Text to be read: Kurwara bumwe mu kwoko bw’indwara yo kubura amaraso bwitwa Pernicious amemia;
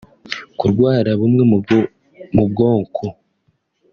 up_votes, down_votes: 1, 2